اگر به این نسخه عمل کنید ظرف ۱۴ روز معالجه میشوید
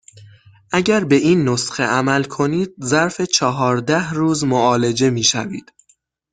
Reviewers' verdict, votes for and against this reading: rejected, 0, 2